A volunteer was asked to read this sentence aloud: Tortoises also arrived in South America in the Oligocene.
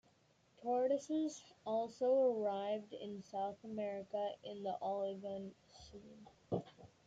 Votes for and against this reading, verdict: 2, 1, accepted